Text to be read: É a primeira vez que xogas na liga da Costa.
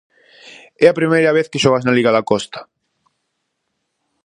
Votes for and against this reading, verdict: 4, 0, accepted